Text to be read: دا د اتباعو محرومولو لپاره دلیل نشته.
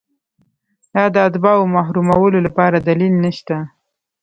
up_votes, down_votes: 0, 2